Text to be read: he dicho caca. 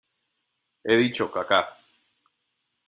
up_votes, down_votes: 1, 2